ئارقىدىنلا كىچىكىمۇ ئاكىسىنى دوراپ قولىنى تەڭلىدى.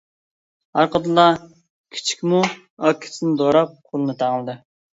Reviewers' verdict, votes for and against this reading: rejected, 1, 2